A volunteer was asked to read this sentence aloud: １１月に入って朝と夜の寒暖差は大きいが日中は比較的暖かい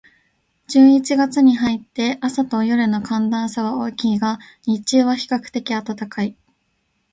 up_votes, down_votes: 0, 2